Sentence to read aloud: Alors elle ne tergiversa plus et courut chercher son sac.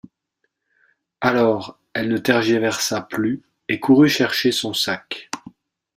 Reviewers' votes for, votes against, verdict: 2, 0, accepted